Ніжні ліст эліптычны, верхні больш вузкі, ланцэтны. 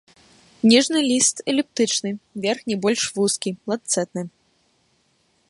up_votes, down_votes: 1, 3